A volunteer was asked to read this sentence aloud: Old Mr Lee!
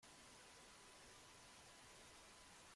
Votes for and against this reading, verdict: 0, 2, rejected